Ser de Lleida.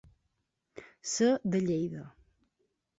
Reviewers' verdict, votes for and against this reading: accepted, 2, 0